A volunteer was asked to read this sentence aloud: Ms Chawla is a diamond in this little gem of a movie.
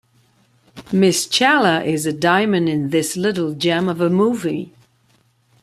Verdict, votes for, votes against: accepted, 2, 0